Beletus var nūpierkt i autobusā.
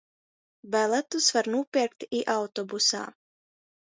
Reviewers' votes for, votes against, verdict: 0, 2, rejected